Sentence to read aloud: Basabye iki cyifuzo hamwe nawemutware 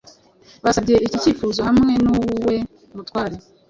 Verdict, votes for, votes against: rejected, 0, 2